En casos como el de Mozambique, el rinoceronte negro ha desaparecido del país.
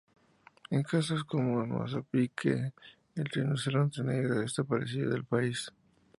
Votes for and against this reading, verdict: 0, 2, rejected